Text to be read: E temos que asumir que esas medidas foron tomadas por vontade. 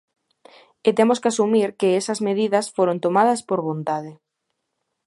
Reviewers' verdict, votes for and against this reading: accepted, 2, 0